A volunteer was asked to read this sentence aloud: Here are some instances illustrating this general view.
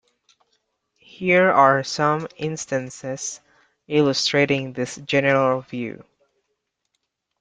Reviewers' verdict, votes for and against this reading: accepted, 2, 0